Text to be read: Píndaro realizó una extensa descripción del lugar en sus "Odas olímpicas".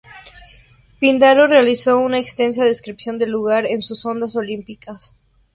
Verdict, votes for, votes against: accepted, 2, 0